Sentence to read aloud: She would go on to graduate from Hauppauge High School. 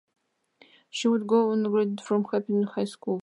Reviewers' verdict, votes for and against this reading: rejected, 1, 2